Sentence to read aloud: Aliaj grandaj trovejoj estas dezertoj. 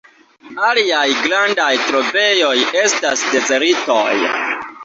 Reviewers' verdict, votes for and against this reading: accepted, 2, 0